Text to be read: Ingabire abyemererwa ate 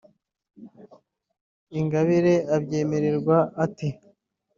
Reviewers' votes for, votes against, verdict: 2, 1, accepted